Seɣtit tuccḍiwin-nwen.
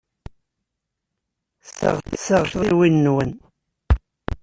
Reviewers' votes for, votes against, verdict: 0, 2, rejected